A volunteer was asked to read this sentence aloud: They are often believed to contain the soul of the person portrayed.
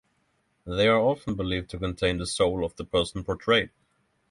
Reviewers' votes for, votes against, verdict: 6, 0, accepted